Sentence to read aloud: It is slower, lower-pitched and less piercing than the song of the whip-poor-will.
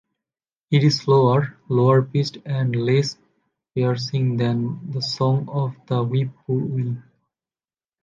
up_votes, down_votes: 2, 1